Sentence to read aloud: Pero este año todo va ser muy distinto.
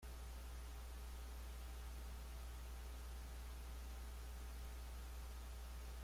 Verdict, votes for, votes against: rejected, 0, 2